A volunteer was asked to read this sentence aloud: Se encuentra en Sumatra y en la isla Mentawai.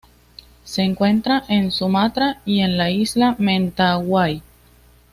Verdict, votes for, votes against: accepted, 2, 0